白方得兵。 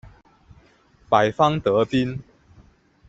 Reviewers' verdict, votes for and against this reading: accepted, 2, 0